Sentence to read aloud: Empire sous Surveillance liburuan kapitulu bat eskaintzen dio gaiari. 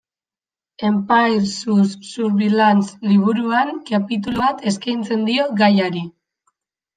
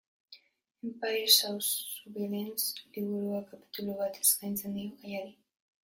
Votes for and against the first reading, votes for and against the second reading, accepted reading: 2, 0, 0, 2, first